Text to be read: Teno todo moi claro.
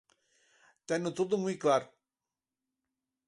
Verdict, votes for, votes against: accepted, 4, 0